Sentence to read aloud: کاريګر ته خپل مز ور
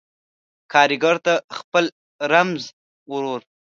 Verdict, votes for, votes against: rejected, 0, 2